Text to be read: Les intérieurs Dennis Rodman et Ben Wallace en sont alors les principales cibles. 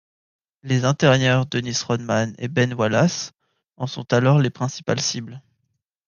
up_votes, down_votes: 2, 0